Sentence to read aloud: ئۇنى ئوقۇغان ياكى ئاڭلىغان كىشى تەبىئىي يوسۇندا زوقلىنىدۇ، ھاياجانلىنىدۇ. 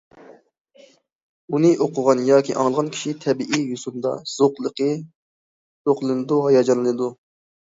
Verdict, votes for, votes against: rejected, 0, 2